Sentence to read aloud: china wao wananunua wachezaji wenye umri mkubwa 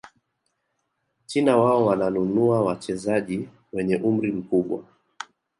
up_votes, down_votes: 5, 1